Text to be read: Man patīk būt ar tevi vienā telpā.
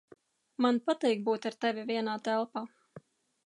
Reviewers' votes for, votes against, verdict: 2, 0, accepted